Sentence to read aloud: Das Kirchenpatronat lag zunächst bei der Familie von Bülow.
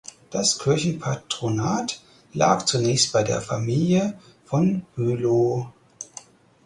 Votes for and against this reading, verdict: 2, 4, rejected